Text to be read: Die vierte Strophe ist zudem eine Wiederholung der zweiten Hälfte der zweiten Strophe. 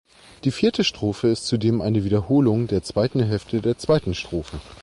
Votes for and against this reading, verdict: 2, 0, accepted